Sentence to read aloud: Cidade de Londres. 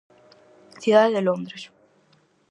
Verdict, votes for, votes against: accepted, 4, 0